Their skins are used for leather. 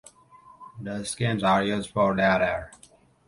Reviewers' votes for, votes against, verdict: 2, 3, rejected